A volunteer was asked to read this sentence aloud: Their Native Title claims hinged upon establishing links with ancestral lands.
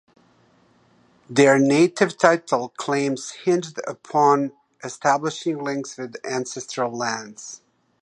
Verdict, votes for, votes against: accepted, 2, 0